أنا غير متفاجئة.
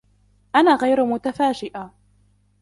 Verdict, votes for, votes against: rejected, 1, 2